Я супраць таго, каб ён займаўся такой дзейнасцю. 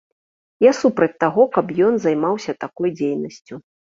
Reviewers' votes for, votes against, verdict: 2, 0, accepted